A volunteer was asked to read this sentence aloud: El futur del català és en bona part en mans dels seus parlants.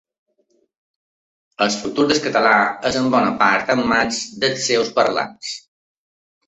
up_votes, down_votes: 0, 2